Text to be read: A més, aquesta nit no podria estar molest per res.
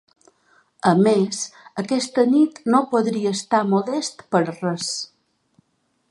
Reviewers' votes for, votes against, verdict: 2, 0, accepted